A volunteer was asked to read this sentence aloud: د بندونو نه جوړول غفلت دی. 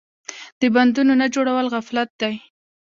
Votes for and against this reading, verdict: 2, 1, accepted